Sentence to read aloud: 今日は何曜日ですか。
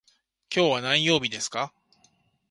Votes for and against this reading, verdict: 2, 0, accepted